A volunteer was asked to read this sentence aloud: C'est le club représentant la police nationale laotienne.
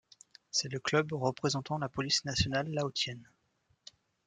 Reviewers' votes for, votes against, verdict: 0, 2, rejected